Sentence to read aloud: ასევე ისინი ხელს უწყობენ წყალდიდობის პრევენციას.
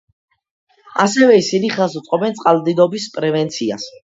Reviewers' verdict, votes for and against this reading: accepted, 2, 0